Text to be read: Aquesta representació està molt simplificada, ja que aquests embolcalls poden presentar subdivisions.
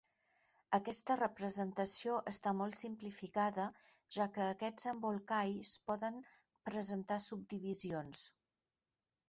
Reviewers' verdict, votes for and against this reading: accepted, 2, 0